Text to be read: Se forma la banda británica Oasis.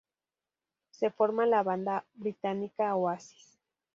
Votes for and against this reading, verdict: 2, 0, accepted